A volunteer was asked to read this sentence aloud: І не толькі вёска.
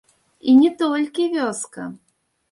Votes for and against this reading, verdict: 1, 2, rejected